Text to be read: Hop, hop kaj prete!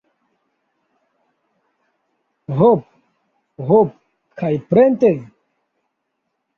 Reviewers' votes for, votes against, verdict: 0, 2, rejected